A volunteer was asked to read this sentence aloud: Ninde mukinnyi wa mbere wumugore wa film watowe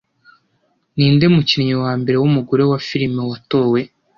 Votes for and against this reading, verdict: 2, 0, accepted